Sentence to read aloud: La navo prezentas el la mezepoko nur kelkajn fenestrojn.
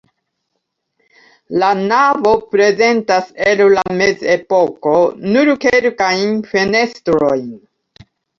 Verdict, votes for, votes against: rejected, 0, 2